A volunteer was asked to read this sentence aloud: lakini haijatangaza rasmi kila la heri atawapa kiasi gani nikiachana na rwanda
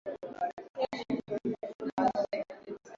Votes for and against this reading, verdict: 0, 2, rejected